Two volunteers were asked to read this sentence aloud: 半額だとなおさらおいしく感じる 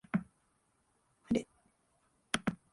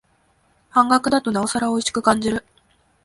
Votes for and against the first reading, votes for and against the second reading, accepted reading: 0, 2, 12, 0, second